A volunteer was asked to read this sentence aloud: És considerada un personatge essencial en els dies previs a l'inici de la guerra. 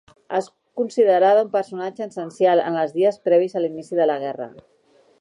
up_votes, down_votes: 1, 2